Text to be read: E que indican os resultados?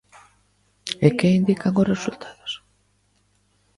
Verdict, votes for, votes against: accepted, 2, 0